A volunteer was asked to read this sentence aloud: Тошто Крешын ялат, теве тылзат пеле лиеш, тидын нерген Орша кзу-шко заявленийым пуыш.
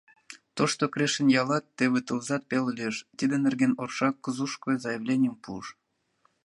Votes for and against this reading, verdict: 2, 0, accepted